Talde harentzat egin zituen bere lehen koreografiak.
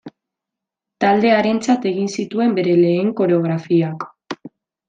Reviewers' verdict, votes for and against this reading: accepted, 2, 0